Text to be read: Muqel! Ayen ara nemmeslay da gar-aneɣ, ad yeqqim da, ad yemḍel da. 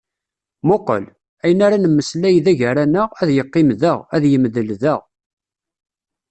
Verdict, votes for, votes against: rejected, 0, 2